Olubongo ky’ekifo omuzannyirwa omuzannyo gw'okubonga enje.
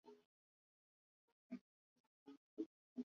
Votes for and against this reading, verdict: 0, 2, rejected